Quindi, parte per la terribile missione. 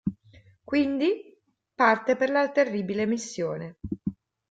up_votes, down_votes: 2, 1